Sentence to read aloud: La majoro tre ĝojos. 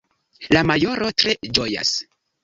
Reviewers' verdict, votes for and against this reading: rejected, 1, 2